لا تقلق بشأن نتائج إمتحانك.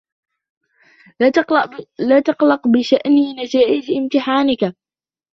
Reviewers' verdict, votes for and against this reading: rejected, 1, 2